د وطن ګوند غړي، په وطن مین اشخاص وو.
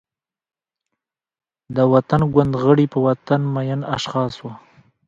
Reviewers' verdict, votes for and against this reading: rejected, 0, 2